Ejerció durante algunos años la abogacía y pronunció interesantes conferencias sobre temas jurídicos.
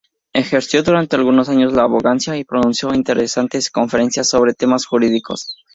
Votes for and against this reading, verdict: 0, 4, rejected